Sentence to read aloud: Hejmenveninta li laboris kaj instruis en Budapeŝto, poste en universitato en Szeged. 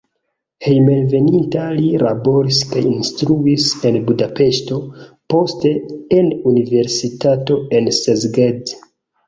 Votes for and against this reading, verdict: 0, 2, rejected